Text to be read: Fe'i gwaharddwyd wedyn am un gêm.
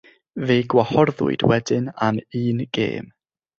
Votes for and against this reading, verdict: 3, 6, rejected